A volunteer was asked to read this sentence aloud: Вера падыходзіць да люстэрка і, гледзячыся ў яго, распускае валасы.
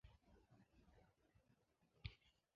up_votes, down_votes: 0, 2